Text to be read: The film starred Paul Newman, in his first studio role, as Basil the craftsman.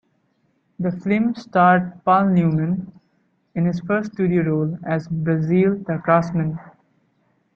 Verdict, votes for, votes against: accepted, 2, 0